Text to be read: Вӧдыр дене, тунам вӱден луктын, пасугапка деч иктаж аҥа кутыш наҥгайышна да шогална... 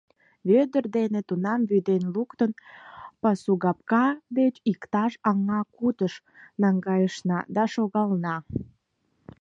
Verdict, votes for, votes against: accepted, 4, 0